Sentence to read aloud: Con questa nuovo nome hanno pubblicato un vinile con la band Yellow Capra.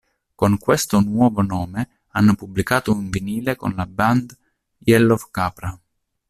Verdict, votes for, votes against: accepted, 2, 0